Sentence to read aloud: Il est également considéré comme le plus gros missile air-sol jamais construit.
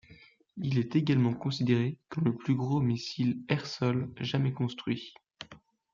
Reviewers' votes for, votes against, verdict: 2, 0, accepted